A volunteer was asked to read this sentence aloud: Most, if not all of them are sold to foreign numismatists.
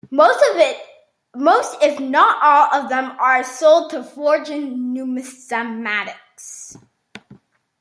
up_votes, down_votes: 0, 2